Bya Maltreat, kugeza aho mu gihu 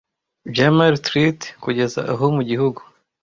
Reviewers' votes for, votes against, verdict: 1, 2, rejected